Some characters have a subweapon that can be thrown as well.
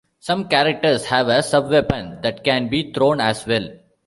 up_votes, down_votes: 2, 1